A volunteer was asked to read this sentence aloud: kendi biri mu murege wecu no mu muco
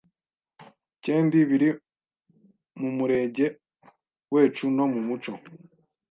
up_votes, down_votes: 1, 2